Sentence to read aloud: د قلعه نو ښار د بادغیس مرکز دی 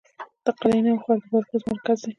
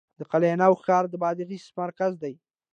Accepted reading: second